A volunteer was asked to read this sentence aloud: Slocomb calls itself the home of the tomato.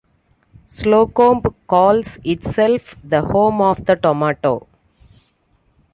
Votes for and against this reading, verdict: 2, 0, accepted